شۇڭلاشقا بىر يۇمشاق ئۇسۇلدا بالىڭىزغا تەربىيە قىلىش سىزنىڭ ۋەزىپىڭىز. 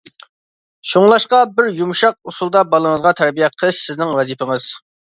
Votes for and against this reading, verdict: 2, 0, accepted